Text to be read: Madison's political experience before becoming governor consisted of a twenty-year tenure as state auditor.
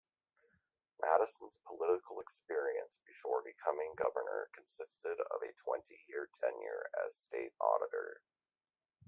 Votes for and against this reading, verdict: 2, 0, accepted